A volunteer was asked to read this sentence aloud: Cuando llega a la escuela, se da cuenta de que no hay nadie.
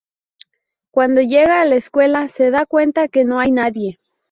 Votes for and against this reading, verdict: 0, 2, rejected